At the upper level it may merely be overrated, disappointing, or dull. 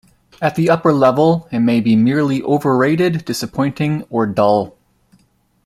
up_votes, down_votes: 2, 1